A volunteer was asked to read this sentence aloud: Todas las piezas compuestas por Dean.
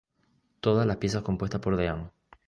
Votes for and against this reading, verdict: 2, 0, accepted